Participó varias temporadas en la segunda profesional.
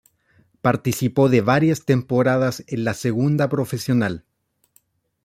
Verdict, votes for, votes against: rejected, 0, 2